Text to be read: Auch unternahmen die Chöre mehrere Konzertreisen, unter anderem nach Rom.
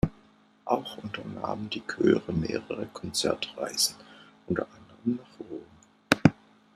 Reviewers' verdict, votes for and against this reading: rejected, 1, 2